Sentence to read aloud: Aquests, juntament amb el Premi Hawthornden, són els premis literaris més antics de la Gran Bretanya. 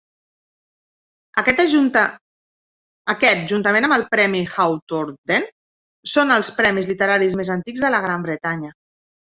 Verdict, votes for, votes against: rejected, 0, 3